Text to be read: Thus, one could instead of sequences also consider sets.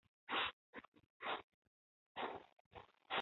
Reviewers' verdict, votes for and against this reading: rejected, 0, 2